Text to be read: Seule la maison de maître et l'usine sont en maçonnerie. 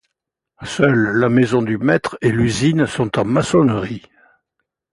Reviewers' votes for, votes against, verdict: 2, 0, accepted